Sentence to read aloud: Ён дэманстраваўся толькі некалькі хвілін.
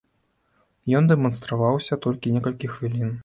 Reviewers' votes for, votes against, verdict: 2, 0, accepted